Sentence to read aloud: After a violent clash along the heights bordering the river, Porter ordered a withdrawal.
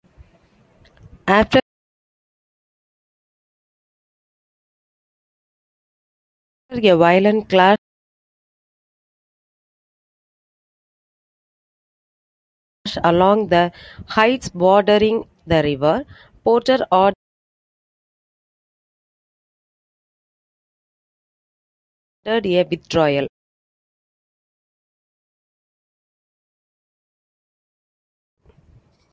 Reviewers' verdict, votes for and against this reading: rejected, 0, 2